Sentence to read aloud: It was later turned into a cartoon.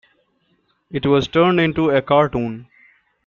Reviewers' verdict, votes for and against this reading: rejected, 0, 2